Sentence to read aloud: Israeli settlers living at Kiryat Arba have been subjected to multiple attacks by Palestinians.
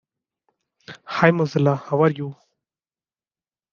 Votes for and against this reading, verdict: 1, 2, rejected